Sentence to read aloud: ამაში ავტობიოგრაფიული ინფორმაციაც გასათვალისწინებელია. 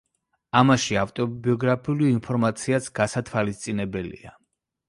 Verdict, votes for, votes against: accepted, 2, 0